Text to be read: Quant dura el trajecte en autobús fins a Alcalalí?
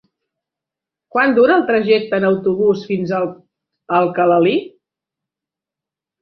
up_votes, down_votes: 0, 2